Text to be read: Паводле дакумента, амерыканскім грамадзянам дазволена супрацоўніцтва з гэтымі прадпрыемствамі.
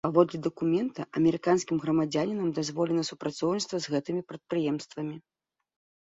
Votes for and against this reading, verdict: 1, 2, rejected